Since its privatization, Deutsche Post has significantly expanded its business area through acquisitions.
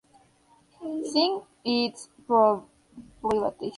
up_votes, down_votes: 0, 2